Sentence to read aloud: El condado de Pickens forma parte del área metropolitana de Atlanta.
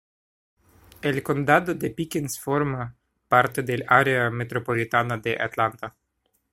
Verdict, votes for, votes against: accepted, 2, 0